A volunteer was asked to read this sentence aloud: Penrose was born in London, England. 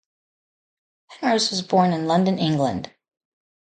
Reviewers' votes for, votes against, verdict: 0, 2, rejected